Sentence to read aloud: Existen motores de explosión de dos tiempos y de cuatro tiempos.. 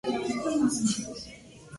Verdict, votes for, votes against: rejected, 0, 2